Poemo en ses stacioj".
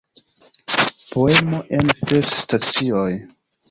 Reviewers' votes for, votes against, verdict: 2, 0, accepted